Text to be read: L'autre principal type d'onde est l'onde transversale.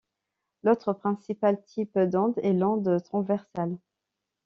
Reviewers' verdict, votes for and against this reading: accepted, 2, 0